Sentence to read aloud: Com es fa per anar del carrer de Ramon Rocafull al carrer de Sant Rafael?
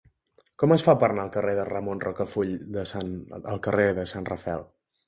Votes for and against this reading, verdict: 0, 2, rejected